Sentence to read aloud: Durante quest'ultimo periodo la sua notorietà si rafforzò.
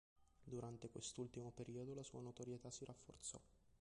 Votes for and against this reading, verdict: 0, 3, rejected